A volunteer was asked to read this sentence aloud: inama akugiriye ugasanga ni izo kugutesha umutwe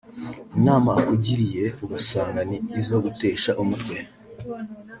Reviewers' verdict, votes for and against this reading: accepted, 2, 1